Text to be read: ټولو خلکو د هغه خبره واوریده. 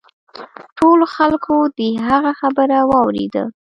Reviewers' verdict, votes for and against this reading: accepted, 2, 1